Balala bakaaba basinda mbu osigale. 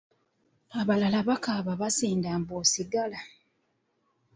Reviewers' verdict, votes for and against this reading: rejected, 1, 2